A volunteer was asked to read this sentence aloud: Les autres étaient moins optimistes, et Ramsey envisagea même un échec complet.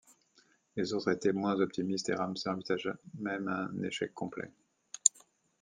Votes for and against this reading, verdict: 2, 1, accepted